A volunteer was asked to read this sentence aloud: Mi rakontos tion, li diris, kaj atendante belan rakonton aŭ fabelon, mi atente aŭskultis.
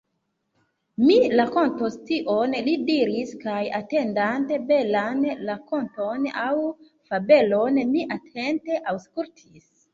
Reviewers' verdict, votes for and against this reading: rejected, 0, 2